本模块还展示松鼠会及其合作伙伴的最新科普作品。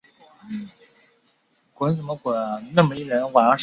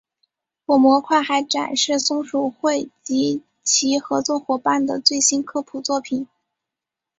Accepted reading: second